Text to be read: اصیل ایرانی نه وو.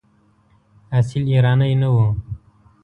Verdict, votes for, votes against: accepted, 2, 0